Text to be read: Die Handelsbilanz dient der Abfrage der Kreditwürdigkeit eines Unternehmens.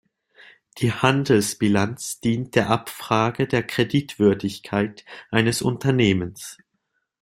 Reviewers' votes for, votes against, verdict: 2, 0, accepted